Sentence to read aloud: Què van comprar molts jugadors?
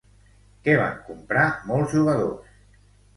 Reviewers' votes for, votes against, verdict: 0, 2, rejected